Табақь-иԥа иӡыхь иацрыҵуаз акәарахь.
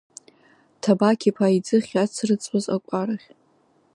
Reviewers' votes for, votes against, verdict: 2, 3, rejected